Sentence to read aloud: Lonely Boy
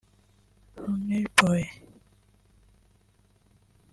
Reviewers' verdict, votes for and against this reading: rejected, 0, 2